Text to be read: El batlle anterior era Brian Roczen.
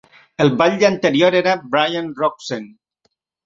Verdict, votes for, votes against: accepted, 2, 0